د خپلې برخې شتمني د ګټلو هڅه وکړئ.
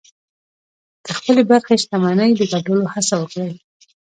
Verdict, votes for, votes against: rejected, 0, 2